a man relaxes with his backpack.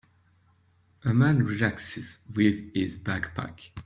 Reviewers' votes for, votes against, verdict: 4, 1, accepted